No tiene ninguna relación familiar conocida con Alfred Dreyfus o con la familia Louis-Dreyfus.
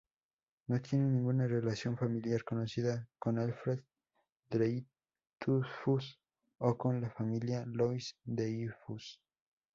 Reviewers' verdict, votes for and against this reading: rejected, 2, 6